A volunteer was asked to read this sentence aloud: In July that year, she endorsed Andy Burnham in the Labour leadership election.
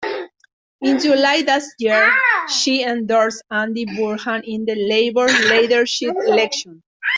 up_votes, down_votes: 0, 2